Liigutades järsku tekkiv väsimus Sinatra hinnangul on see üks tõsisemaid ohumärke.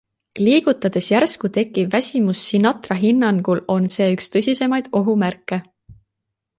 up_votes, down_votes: 2, 0